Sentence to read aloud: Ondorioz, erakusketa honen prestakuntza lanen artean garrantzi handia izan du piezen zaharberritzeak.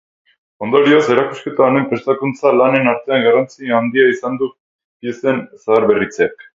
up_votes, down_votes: 4, 0